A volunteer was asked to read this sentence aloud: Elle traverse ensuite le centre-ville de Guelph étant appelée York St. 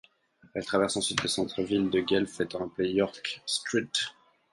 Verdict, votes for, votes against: rejected, 2, 4